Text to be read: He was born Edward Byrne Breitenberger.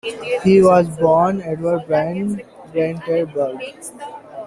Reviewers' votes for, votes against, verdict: 0, 2, rejected